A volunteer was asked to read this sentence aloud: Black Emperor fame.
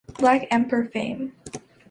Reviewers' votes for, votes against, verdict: 2, 1, accepted